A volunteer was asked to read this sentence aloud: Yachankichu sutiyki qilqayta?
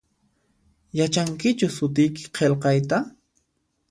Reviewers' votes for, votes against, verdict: 2, 0, accepted